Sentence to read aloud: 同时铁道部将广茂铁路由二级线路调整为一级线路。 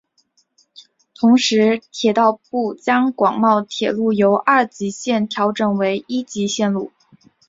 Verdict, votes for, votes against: accepted, 3, 0